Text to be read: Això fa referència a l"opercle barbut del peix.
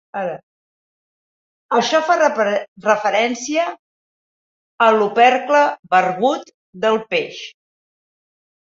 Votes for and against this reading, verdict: 4, 15, rejected